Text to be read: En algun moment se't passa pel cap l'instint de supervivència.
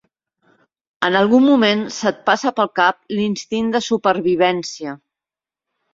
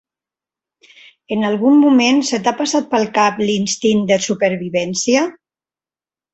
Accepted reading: first